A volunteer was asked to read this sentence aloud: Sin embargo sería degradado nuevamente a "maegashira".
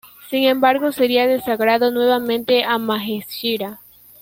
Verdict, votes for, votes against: rejected, 1, 2